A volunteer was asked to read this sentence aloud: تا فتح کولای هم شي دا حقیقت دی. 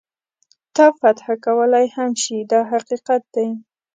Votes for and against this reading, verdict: 2, 0, accepted